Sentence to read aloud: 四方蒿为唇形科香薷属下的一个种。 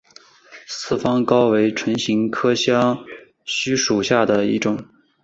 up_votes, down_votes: 2, 0